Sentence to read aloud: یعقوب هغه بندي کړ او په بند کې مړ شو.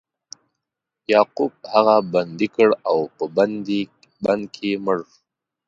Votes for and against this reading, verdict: 1, 2, rejected